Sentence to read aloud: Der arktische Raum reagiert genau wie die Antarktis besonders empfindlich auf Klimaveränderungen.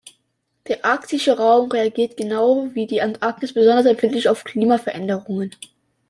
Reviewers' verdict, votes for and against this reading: accepted, 2, 0